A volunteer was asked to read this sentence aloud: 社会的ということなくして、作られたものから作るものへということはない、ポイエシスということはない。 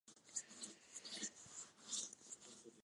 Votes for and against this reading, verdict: 0, 2, rejected